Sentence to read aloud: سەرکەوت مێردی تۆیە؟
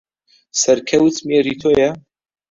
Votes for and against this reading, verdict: 0, 2, rejected